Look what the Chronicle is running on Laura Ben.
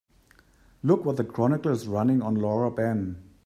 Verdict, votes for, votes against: accepted, 2, 0